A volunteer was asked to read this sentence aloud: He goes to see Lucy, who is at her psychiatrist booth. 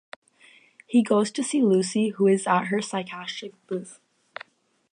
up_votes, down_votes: 0, 4